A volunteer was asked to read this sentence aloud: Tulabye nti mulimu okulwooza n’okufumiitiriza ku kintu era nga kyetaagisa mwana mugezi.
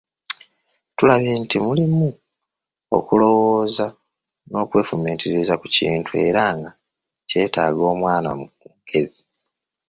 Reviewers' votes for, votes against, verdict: 1, 2, rejected